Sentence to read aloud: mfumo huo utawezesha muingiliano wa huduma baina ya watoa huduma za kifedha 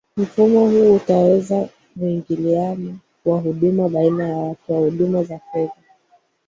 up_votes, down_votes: 2, 3